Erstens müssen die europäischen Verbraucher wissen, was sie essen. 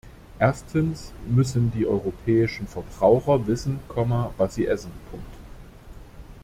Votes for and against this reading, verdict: 1, 2, rejected